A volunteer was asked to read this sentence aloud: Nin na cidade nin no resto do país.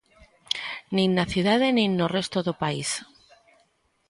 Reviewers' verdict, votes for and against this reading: accepted, 2, 0